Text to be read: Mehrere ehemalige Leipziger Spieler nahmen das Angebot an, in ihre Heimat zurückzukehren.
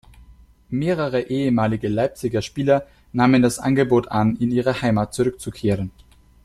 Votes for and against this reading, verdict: 2, 0, accepted